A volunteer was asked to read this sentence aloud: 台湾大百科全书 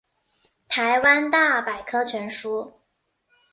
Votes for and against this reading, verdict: 2, 1, accepted